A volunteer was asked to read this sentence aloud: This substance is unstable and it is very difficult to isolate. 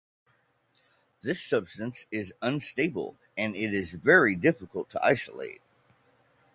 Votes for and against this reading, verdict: 2, 0, accepted